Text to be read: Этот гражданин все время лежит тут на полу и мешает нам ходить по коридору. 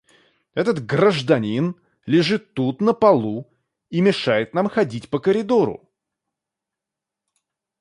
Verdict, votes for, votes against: rejected, 0, 2